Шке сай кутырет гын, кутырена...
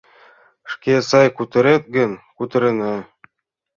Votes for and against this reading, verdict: 2, 0, accepted